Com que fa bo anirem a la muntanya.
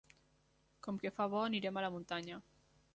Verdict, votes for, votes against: accepted, 3, 0